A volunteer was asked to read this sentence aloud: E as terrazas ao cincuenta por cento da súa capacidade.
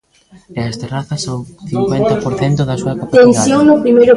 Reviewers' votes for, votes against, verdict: 0, 2, rejected